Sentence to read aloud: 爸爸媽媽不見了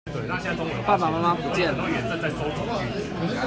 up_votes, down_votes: 1, 2